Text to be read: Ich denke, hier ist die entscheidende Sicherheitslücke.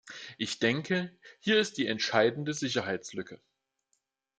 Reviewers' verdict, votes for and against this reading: accepted, 2, 0